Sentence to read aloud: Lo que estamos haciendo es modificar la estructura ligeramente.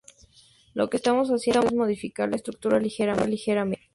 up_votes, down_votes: 0, 2